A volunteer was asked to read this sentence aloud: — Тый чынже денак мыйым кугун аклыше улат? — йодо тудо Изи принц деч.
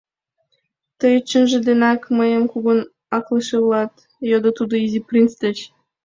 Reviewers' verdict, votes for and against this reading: accepted, 2, 0